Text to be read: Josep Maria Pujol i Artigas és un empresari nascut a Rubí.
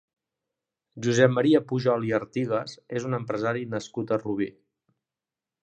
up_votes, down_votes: 2, 0